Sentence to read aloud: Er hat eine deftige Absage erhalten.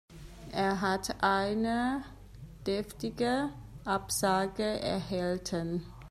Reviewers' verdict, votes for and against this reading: rejected, 0, 2